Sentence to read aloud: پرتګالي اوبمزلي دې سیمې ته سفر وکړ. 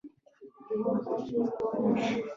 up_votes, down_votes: 0, 2